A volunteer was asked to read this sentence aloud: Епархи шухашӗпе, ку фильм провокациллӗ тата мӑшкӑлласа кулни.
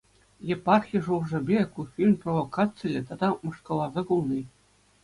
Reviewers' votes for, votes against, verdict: 2, 0, accepted